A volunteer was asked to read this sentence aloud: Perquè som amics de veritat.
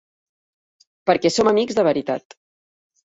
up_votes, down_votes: 3, 0